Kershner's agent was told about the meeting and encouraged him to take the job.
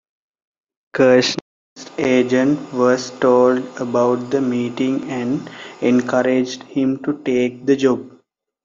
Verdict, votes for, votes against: rejected, 1, 3